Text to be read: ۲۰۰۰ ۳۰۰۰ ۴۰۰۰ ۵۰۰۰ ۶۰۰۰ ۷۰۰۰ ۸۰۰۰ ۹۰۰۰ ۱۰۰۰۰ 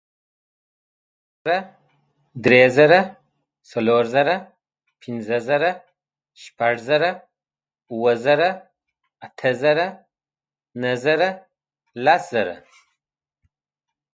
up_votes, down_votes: 0, 2